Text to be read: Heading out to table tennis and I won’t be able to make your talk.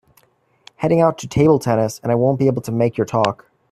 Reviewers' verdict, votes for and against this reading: accepted, 2, 1